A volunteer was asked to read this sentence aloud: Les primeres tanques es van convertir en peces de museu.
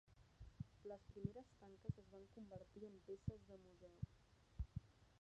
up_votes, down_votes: 1, 3